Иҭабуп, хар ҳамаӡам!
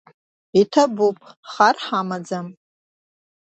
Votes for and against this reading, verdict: 2, 0, accepted